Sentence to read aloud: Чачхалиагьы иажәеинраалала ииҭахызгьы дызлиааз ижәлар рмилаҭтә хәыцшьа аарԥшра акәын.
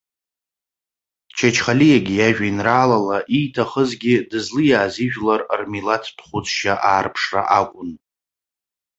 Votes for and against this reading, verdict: 2, 0, accepted